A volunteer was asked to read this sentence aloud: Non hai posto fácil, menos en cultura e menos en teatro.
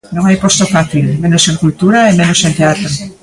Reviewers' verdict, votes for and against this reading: rejected, 1, 2